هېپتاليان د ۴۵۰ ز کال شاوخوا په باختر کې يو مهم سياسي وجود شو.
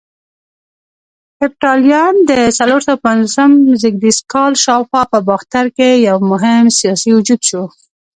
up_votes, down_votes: 0, 2